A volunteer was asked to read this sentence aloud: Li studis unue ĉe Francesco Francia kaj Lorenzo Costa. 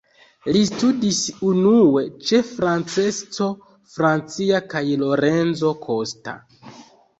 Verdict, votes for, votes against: accepted, 2, 0